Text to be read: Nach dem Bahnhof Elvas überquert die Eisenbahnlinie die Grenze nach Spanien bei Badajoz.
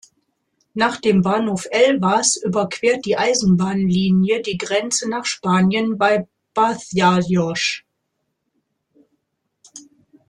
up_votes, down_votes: 0, 2